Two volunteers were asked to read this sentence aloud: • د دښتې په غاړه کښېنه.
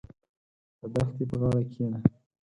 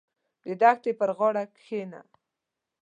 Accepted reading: second